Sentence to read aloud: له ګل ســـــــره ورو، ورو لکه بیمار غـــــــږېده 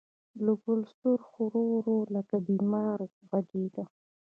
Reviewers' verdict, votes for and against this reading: rejected, 1, 2